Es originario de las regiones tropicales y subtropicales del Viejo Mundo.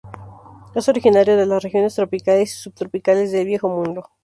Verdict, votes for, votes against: rejected, 0, 2